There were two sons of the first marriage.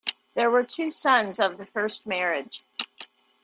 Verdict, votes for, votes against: accepted, 2, 0